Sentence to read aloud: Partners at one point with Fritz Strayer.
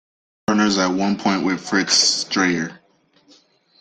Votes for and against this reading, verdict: 0, 2, rejected